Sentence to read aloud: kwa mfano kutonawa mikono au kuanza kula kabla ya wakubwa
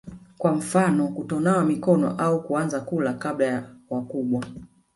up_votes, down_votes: 2, 0